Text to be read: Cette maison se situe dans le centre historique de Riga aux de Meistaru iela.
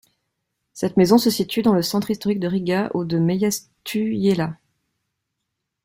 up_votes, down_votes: 0, 2